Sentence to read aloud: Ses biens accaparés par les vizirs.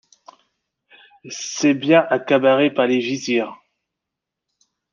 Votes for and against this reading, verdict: 0, 2, rejected